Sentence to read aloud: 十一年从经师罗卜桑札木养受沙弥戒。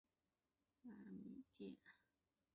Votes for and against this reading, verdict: 2, 6, rejected